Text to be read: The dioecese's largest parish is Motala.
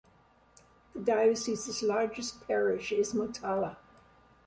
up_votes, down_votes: 2, 0